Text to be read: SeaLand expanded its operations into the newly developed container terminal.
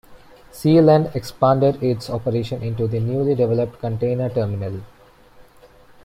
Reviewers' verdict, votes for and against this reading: accepted, 2, 1